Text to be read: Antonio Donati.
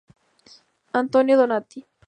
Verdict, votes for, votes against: accepted, 4, 0